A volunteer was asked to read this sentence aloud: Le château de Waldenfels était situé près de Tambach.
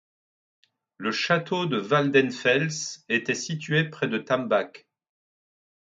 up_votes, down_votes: 2, 0